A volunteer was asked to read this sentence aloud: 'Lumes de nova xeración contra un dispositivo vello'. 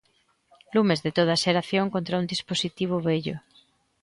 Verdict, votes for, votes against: rejected, 1, 2